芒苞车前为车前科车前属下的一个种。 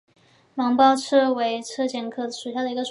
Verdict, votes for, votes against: rejected, 0, 3